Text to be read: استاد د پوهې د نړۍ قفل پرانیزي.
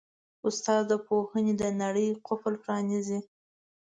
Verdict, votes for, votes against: accepted, 2, 0